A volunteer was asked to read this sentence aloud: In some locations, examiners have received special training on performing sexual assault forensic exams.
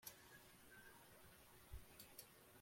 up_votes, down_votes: 0, 2